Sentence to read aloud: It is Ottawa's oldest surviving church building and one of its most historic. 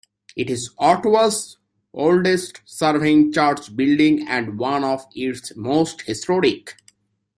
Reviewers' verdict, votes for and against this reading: rejected, 1, 2